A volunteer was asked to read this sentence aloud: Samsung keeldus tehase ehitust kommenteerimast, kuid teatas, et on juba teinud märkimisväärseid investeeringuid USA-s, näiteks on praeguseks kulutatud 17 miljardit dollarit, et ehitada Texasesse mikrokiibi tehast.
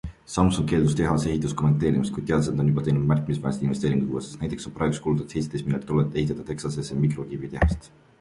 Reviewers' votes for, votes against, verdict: 0, 2, rejected